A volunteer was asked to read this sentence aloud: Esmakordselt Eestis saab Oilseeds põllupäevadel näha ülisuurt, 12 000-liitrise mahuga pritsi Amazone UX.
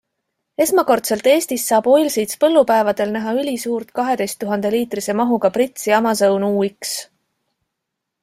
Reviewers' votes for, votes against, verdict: 0, 2, rejected